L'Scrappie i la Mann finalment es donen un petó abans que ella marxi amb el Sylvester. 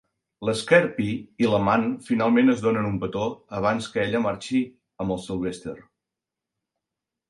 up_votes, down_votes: 1, 2